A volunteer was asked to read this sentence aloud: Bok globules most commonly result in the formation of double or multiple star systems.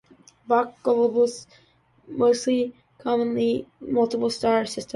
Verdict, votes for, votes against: rejected, 0, 2